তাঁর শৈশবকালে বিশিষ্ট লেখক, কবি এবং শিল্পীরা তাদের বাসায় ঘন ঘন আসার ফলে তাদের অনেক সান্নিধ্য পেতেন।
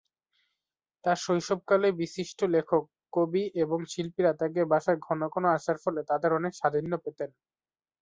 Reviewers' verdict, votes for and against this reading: accepted, 2, 0